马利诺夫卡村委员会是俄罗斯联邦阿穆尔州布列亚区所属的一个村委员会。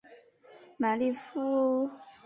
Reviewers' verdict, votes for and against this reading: rejected, 1, 2